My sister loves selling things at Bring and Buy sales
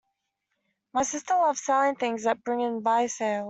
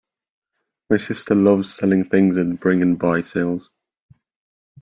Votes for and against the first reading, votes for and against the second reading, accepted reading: 2, 0, 0, 2, first